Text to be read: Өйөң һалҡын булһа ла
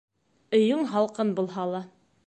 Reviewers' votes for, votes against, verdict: 2, 0, accepted